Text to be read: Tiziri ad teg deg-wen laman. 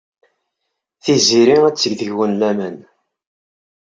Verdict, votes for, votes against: accepted, 2, 0